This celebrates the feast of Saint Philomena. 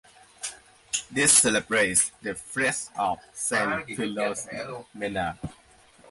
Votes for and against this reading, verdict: 0, 3, rejected